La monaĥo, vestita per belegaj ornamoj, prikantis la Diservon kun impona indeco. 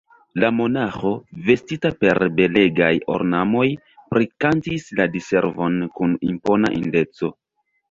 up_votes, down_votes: 2, 1